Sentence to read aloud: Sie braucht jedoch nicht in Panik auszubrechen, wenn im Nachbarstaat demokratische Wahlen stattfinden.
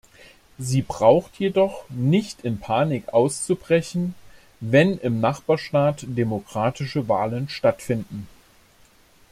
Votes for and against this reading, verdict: 2, 0, accepted